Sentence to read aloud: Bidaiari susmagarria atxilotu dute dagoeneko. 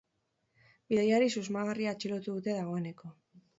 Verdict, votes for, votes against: accepted, 2, 0